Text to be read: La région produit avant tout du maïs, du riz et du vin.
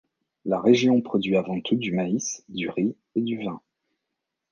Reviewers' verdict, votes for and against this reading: rejected, 0, 2